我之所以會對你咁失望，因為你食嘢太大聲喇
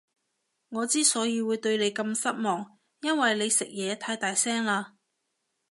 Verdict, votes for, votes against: accepted, 2, 0